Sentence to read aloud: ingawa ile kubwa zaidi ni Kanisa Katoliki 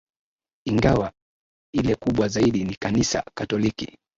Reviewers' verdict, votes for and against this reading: rejected, 1, 2